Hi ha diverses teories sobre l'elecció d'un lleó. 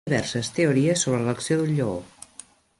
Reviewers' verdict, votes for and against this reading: rejected, 1, 3